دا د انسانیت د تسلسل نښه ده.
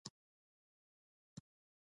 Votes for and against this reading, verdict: 0, 2, rejected